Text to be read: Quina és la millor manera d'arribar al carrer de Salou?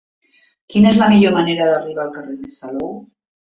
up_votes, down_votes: 0, 2